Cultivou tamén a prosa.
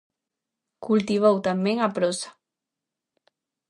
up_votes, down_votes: 2, 0